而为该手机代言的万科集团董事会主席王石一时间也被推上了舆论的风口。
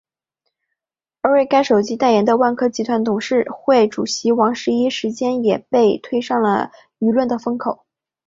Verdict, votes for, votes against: accepted, 4, 0